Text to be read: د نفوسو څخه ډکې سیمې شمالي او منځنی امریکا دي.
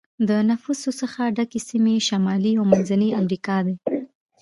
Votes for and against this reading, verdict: 2, 0, accepted